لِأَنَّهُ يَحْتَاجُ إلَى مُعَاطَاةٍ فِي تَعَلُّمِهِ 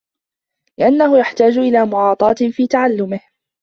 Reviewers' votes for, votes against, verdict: 2, 0, accepted